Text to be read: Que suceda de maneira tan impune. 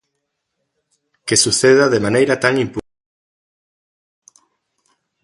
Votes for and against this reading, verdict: 0, 2, rejected